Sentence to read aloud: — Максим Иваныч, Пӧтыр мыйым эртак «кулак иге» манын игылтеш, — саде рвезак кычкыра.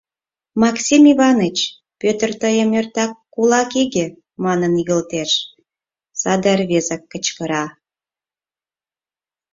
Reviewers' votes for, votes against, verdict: 2, 4, rejected